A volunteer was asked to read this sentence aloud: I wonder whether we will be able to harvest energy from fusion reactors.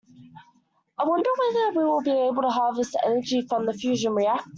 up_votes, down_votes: 1, 2